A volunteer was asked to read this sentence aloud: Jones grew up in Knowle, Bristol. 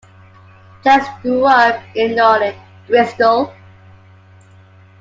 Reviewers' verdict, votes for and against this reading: rejected, 0, 2